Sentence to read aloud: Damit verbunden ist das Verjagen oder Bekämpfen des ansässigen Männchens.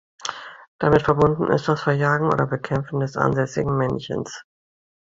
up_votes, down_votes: 2, 0